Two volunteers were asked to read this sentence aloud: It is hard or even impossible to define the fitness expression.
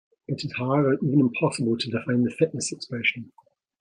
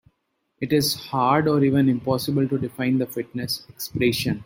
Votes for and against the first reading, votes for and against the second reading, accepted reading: 2, 1, 1, 2, first